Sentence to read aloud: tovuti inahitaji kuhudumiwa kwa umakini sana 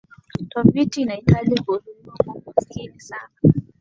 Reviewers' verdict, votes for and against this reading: rejected, 1, 2